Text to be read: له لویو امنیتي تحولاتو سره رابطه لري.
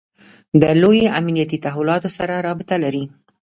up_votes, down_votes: 1, 2